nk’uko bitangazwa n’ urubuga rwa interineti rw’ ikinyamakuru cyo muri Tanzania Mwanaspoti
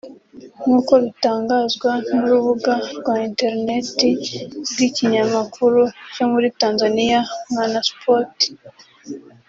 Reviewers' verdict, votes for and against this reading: rejected, 1, 2